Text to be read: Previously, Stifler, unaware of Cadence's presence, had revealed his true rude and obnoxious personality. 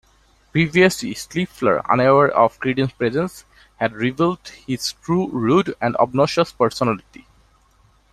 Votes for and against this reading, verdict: 0, 2, rejected